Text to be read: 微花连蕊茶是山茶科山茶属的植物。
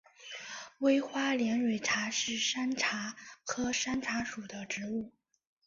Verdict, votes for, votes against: accepted, 3, 1